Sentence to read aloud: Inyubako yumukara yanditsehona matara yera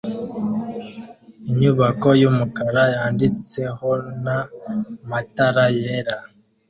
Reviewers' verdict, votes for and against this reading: accepted, 2, 0